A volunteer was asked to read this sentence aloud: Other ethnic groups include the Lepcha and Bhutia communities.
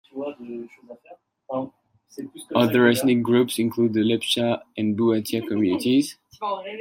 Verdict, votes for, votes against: rejected, 0, 2